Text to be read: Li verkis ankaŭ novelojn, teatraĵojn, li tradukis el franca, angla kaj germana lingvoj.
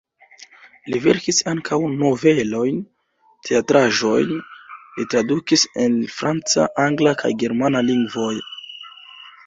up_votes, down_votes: 1, 2